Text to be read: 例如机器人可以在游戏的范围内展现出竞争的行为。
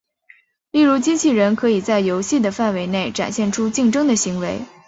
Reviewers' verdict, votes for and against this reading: accepted, 4, 0